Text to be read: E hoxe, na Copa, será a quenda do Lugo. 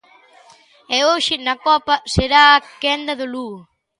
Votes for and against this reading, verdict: 2, 0, accepted